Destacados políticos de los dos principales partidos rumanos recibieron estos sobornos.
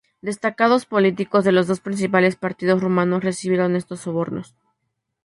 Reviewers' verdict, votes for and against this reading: accepted, 2, 0